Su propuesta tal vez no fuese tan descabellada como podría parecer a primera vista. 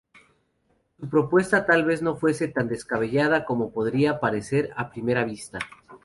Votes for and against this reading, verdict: 0, 2, rejected